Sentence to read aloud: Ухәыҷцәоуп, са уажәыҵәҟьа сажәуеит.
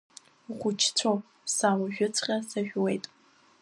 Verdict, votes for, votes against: accepted, 2, 0